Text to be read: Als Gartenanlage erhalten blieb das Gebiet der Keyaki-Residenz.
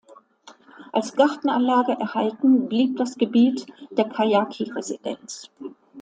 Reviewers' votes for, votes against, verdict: 2, 0, accepted